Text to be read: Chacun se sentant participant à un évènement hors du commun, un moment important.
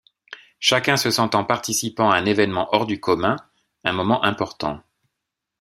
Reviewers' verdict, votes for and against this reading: accepted, 2, 0